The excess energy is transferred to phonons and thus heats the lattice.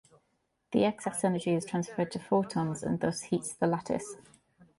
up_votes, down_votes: 0, 2